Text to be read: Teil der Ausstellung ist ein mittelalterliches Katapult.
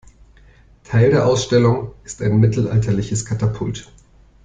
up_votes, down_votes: 2, 1